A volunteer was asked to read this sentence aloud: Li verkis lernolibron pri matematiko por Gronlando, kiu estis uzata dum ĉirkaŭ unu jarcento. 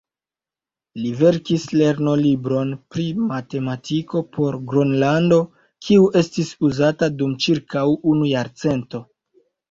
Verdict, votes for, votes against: rejected, 1, 2